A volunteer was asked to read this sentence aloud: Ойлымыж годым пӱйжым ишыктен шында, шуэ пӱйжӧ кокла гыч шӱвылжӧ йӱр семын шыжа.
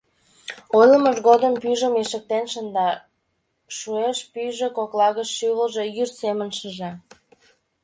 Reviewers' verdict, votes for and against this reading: rejected, 0, 2